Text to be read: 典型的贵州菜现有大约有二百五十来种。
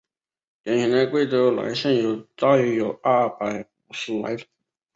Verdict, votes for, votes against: rejected, 0, 2